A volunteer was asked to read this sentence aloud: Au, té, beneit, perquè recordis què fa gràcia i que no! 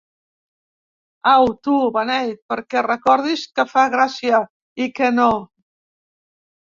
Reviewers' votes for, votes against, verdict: 0, 3, rejected